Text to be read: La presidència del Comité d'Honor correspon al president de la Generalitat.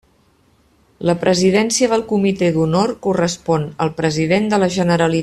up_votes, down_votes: 0, 2